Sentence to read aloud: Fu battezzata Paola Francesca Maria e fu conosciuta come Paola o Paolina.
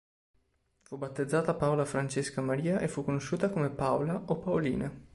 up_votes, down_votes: 3, 0